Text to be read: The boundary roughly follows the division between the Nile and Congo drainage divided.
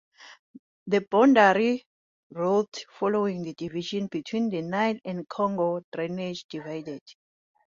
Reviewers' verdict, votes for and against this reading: rejected, 0, 2